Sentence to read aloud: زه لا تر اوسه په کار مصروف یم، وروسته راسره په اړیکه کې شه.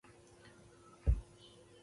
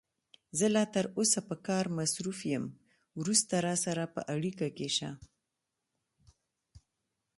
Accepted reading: second